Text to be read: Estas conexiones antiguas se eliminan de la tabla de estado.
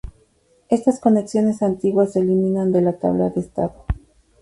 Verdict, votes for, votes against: accepted, 4, 0